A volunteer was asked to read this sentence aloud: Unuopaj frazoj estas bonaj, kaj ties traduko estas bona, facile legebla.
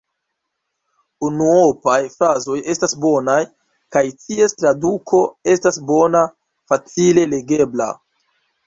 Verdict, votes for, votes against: accepted, 2, 0